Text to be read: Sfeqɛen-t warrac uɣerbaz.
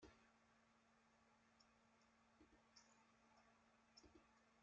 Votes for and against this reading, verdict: 0, 2, rejected